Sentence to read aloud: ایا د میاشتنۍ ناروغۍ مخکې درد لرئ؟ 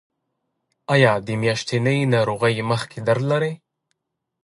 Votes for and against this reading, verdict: 2, 1, accepted